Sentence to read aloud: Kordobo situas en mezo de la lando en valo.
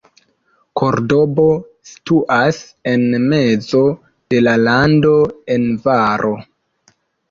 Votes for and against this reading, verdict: 2, 1, accepted